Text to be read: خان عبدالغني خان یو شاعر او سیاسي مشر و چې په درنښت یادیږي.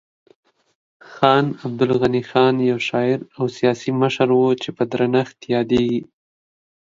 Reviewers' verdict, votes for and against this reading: accepted, 2, 0